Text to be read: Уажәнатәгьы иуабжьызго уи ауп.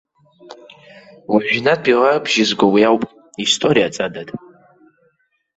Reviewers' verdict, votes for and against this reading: rejected, 0, 2